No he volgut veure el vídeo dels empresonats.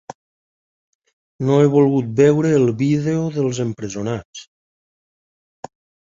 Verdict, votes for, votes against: accepted, 3, 0